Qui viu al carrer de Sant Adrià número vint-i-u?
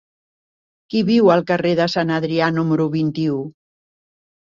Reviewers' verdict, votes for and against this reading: accepted, 4, 0